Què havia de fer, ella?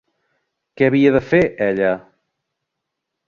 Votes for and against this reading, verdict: 3, 0, accepted